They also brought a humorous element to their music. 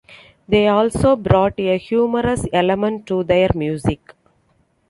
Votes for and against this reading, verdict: 2, 0, accepted